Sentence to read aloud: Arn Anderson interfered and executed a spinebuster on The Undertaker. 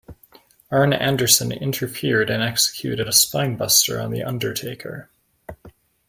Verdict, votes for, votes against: accepted, 2, 0